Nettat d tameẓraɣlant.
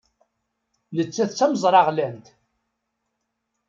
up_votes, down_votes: 2, 0